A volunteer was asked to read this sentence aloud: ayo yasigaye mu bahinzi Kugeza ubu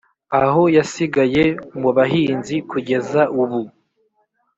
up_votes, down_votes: 3, 0